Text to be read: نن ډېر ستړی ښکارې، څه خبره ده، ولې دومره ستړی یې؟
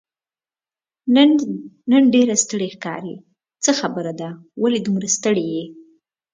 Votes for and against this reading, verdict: 2, 0, accepted